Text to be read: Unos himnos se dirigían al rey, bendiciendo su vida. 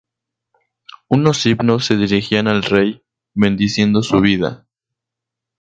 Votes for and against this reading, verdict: 0, 2, rejected